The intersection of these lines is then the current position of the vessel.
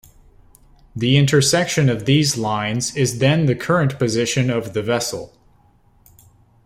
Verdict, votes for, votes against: accepted, 2, 0